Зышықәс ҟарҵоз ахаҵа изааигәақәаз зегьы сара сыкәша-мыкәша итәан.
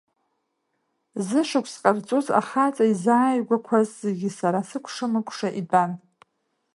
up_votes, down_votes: 2, 0